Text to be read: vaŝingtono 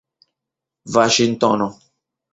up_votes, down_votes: 0, 2